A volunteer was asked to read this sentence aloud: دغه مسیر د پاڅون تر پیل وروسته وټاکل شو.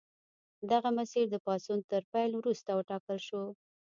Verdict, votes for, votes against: rejected, 0, 2